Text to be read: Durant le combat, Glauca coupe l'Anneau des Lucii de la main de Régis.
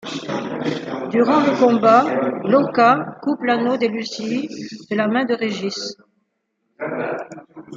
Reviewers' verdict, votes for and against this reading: rejected, 1, 2